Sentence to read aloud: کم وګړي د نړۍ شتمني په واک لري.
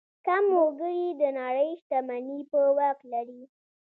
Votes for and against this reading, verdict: 2, 0, accepted